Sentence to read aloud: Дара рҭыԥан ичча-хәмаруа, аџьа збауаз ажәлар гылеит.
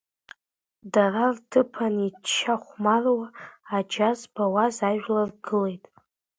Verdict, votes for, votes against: accepted, 2, 1